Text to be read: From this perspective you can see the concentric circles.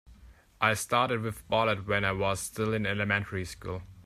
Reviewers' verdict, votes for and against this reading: rejected, 0, 2